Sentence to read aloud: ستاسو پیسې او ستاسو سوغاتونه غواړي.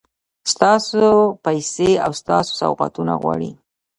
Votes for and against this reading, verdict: 2, 0, accepted